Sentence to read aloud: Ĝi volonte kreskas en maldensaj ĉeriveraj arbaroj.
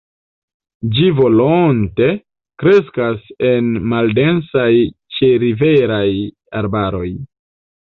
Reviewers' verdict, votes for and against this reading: accepted, 2, 0